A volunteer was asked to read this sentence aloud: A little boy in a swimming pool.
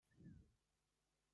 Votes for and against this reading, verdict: 0, 2, rejected